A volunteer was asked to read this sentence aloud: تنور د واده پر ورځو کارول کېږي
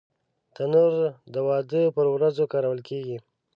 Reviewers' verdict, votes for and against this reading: accepted, 2, 0